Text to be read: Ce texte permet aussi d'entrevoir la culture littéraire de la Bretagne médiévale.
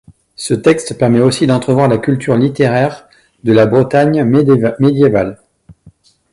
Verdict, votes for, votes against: rejected, 0, 2